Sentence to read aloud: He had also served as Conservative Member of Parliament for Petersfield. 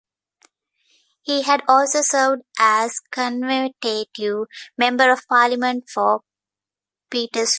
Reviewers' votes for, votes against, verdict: 0, 2, rejected